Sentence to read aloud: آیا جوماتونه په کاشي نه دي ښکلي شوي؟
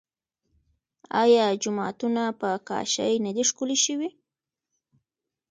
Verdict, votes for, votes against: accepted, 2, 1